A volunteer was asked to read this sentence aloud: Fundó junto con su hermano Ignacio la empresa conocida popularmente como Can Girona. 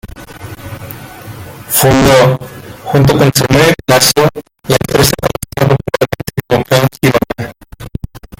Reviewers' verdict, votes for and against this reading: rejected, 0, 2